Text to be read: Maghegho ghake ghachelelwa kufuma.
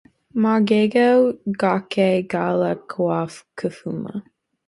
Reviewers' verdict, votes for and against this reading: rejected, 0, 2